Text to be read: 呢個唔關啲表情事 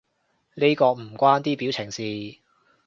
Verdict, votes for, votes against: accepted, 2, 0